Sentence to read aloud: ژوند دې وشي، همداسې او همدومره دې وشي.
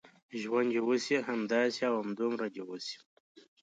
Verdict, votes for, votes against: accepted, 2, 0